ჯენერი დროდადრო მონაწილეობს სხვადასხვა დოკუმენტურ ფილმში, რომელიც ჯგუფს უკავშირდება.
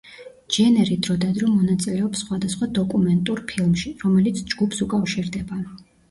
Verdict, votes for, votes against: rejected, 1, 2